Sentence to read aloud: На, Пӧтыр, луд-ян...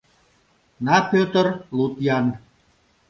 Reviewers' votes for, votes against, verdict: 2, 0, accepted